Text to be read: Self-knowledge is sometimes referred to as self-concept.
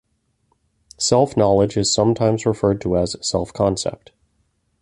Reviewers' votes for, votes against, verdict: 2, 1, accepted